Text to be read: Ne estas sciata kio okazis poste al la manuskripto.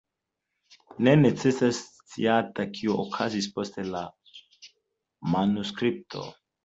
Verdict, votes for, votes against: rejected, 1, 2